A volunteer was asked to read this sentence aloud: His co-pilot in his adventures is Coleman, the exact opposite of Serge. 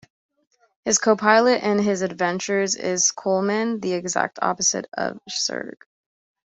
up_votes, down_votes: 2, 1